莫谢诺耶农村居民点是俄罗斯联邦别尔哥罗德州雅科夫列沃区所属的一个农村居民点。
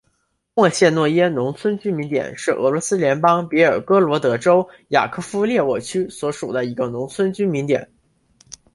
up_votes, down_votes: 4, 0